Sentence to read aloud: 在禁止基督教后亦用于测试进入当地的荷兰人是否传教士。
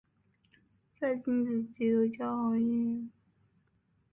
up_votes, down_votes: 0, 3